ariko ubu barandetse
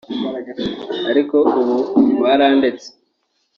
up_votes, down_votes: 1, 2